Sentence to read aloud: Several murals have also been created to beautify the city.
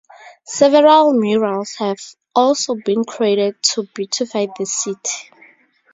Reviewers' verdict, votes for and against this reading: accepted, 2, 0